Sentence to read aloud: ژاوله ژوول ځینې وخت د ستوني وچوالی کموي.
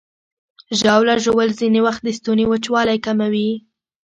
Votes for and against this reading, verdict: 2, 0, accepted